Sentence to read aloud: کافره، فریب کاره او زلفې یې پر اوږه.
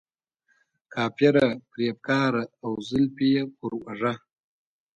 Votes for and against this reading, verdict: 0, 2, rejected